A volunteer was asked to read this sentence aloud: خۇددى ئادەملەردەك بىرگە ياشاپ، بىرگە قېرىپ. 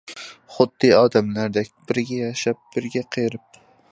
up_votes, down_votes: 2, 0